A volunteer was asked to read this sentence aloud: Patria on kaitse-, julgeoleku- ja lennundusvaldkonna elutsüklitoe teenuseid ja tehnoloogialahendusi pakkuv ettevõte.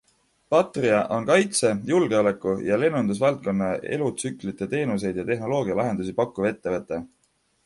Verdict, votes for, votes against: accepted, 2, 1